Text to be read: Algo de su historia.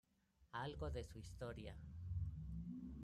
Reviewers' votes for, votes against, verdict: 0, 2, rejected